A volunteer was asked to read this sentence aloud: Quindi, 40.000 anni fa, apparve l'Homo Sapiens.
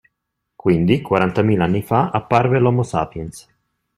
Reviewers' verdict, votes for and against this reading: rejected, 0, 2